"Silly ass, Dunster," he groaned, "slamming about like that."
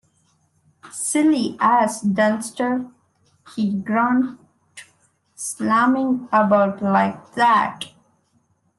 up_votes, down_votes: 2, 0